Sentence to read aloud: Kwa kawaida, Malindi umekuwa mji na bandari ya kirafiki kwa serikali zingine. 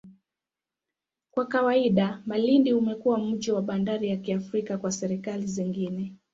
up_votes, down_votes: 1, 2